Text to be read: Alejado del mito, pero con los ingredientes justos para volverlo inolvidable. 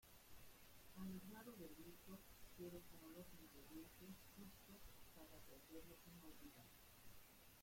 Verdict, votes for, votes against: rejected, 0, 2